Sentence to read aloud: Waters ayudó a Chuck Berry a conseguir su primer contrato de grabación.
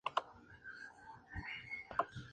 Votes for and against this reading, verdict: 0, 4, rejected